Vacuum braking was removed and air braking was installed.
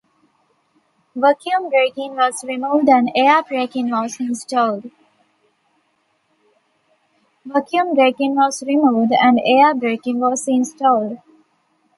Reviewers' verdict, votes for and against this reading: rejected, 1, 2